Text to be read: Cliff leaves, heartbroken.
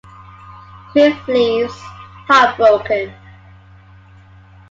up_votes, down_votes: 2, 0